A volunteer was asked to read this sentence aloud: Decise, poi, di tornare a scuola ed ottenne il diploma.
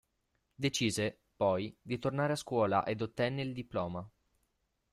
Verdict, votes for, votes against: rejected, 1, 2